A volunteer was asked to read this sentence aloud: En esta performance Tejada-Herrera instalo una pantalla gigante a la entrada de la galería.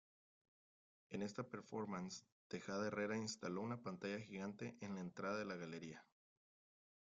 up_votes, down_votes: 0, 2